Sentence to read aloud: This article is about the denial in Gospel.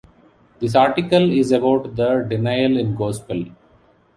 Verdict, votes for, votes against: accepted, 2, 0